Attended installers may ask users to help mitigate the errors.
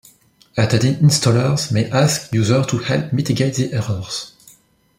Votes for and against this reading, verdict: 0, 2, rejected